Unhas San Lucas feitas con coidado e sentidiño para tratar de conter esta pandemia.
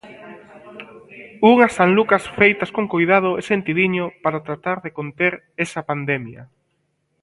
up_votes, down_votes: 0, 2